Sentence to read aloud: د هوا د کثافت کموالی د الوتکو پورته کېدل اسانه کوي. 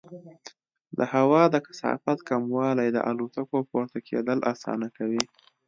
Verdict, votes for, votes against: accepted, 2, 0